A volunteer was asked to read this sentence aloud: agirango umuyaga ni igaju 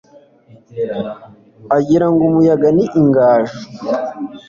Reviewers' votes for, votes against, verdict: 1, 2, rejected